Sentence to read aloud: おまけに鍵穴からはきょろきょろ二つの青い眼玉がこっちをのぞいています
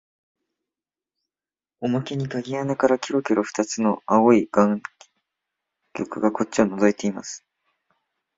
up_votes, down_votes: 1, 2